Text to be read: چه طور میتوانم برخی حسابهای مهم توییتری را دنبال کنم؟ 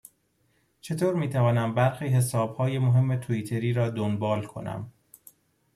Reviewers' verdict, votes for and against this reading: accepted, 2, 0